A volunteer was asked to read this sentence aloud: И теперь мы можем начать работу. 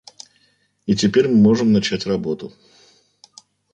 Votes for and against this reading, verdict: 2, 0, accepted